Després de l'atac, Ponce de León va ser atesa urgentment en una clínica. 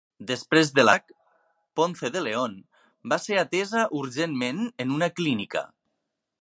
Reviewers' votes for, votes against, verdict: 0, 2, rejected